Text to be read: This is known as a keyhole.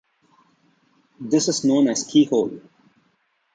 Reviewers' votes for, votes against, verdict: 0, 2, rejected